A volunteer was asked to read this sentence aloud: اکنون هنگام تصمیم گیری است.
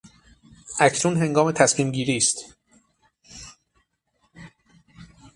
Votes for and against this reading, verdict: 9, 0, accepted